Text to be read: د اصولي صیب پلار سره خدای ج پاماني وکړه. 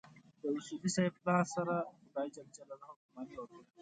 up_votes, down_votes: 1, 2